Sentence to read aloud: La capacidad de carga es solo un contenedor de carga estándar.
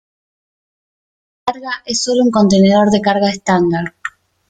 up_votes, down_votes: 0, 3